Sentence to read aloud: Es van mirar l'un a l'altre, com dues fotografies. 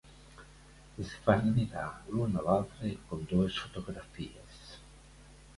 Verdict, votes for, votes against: accepted, 2, 0